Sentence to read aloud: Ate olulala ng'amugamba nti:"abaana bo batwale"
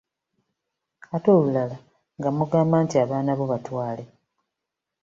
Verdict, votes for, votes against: rejected, 1, 2